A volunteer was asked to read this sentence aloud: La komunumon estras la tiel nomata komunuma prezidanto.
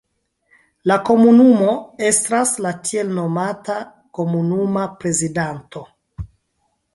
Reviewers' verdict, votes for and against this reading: accepted, 2, 1